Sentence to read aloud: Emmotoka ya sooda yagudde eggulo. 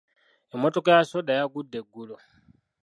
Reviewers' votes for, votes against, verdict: 2, 0, accepted